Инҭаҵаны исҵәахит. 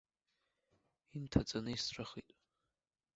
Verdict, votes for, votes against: accepted, 2, 0